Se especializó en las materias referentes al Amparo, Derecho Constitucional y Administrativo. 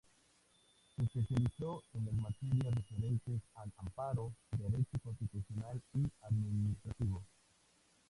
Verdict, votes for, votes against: rejected, 0, 2